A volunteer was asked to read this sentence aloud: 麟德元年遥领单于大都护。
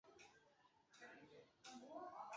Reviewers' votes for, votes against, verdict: 4, 2, accepted